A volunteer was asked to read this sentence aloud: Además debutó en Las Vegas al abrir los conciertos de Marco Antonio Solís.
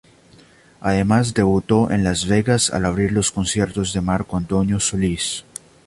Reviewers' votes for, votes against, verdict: 2, 0, accepted